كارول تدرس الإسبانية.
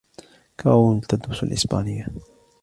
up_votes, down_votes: 1, 2